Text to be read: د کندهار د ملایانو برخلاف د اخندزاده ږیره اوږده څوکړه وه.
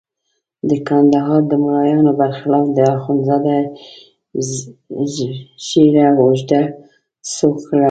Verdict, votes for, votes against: rejected, 1, 2